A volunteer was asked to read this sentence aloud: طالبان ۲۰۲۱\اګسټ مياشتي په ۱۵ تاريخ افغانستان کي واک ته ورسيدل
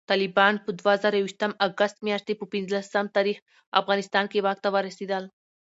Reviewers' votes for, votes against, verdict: 0, 2, rejected